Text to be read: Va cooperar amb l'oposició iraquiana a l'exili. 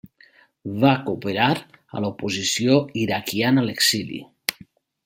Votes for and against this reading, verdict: 0, 2, rejected